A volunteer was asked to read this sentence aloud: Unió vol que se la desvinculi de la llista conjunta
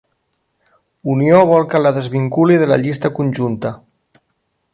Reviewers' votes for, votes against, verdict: 0, 2, rejected